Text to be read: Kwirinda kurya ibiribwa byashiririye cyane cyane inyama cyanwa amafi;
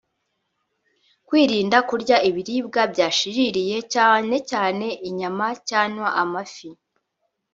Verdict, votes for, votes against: rejected, 1, 2